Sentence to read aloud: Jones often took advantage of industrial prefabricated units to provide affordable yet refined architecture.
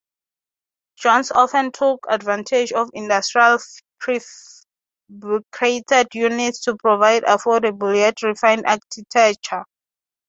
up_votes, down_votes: 0, 3